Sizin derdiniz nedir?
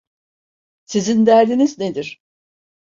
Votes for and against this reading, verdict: 2, 0, accepted